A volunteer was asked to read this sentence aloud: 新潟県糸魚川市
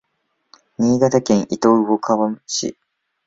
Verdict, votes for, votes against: rejected, 1, 2